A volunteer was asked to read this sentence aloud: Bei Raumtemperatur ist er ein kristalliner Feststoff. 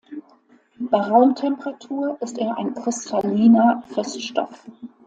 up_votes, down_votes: 2, 0